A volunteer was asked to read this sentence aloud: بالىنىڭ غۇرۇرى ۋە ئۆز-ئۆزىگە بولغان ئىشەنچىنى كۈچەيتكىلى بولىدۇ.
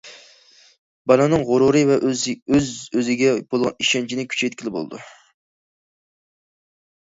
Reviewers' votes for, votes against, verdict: 2, 1, accepted